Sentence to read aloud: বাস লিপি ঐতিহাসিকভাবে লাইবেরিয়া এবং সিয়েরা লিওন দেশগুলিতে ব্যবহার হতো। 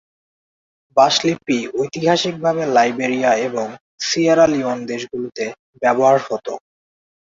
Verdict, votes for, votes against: rejected, 0, 2